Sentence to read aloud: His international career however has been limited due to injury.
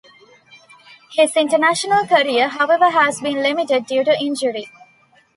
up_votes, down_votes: 2, 0